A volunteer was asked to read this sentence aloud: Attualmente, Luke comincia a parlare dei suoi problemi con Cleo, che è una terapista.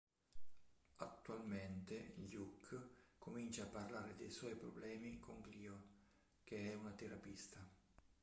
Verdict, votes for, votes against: rejected, 2, 3